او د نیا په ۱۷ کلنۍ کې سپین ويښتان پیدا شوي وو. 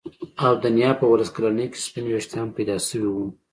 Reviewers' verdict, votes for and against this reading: rejected, 0, 2